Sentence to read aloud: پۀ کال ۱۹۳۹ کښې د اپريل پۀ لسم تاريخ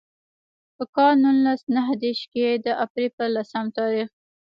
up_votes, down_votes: 0, 2